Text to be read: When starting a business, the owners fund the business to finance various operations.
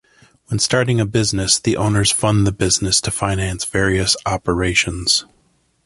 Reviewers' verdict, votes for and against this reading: accepted, 2, 0